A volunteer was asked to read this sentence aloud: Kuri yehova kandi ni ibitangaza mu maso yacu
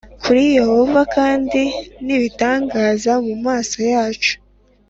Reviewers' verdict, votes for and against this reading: accepted, 3, 0